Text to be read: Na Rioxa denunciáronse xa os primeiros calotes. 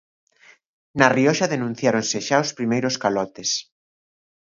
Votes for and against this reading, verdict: 2, 0, accepted